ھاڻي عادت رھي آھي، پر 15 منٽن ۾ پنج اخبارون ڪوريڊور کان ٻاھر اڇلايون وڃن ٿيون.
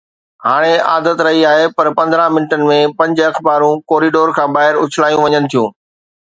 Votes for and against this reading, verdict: 0, 2, rejected